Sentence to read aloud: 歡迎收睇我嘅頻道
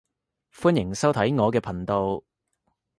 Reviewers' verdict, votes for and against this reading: accepted, 2, 0